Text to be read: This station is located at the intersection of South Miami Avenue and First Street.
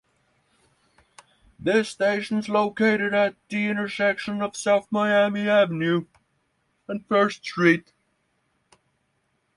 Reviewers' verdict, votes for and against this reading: accepted, 6, 0